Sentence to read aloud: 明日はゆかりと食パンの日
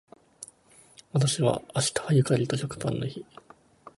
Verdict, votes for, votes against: rejected, 1, 3